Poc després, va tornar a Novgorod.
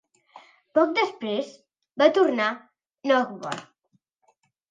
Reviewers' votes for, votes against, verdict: 2, 1, accepted